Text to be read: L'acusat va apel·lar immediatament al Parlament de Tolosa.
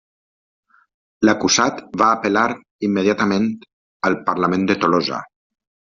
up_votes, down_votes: 1, 2